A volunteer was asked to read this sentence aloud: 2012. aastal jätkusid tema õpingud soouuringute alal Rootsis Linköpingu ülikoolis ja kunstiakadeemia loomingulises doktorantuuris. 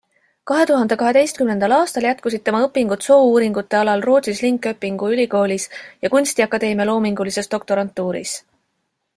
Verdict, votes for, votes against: rejected, 0, 2